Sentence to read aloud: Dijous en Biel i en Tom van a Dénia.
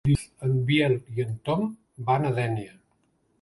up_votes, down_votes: 0, 2